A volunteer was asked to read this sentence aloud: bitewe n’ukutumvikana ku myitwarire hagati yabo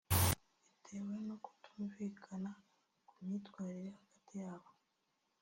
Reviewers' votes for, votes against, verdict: 0, 2, rejected